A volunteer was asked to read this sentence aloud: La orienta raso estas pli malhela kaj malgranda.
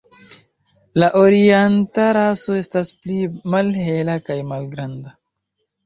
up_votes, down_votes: 1, 2